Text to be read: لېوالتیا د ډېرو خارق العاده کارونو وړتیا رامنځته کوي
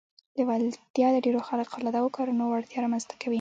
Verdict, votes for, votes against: accepted, 2, 0